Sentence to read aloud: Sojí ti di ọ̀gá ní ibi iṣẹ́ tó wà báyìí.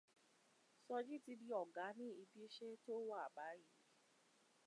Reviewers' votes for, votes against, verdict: 2, 1, accepted